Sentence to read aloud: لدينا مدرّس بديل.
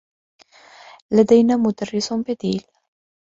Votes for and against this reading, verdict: 2, 0, accepted